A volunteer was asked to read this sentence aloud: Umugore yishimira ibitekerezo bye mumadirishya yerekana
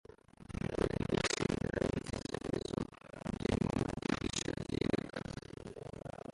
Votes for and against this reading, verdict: 0, 2, rejected